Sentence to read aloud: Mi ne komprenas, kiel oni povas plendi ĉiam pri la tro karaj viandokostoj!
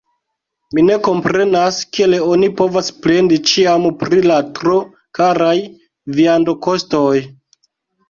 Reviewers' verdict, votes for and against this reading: accepted, 2, 1